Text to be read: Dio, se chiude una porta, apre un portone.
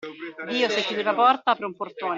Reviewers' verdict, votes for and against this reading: rejected, 0, 2